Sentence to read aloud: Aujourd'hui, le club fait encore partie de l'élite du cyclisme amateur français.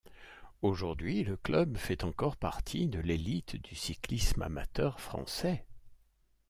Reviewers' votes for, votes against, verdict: 2, 0, accepted